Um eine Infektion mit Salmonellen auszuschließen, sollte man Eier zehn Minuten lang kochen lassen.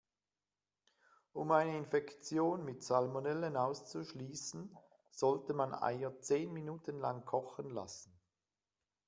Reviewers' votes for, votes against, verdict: 3, 0, accepted